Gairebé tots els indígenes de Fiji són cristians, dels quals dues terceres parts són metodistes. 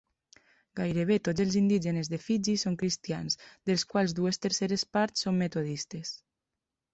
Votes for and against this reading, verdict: 3, 0, accepted